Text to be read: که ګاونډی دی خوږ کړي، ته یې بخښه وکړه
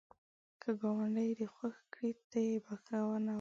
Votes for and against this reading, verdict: 1, 2, rejected